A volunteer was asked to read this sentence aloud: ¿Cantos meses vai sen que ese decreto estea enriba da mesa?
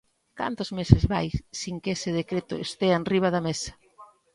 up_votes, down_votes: 0, 2